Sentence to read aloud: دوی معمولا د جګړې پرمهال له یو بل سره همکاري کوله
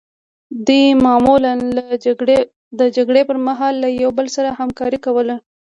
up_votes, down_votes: 1, 2